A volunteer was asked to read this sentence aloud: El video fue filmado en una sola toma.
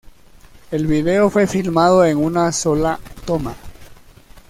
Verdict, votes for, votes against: accepted, 2, 0